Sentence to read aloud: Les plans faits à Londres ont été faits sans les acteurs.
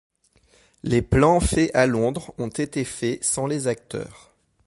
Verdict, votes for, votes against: accepted, 2, 0